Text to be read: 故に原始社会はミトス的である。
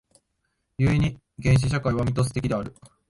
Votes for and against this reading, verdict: 2, 0, accepted